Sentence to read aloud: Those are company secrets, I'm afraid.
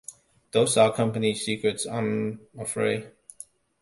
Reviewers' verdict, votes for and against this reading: accepted, 2, 0